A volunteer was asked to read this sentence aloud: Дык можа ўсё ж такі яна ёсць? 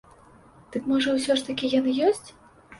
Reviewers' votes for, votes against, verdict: 1, 2, rejected